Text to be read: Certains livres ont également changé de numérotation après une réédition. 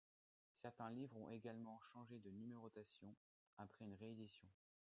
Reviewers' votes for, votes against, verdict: 2, 0, accepted